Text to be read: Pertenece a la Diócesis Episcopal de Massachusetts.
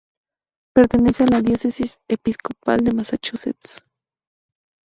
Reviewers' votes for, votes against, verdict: 2, 0, accepted